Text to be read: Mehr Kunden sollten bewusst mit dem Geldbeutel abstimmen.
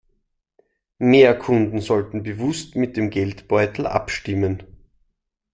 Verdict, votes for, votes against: accepted, 2, 0